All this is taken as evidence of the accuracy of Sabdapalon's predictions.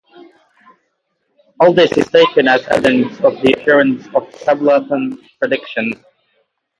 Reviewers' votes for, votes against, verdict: 0, 3, rejected